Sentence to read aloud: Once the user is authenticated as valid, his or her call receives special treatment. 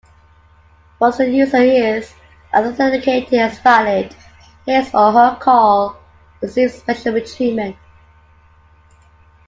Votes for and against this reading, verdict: 2, 1, accepted